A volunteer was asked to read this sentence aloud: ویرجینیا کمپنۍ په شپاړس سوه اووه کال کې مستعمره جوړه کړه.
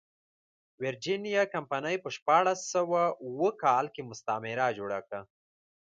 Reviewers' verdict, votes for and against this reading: accepted, 2, 1